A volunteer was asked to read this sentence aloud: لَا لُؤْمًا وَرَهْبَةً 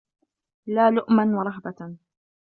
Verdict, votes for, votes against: accepted, 2, 1